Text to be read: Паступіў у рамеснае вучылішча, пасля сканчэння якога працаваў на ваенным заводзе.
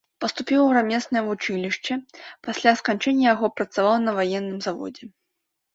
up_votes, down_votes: 1, 2